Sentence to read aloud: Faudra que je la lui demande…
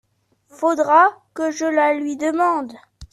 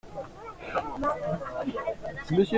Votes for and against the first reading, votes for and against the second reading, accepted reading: 2, 0, 0, 2, first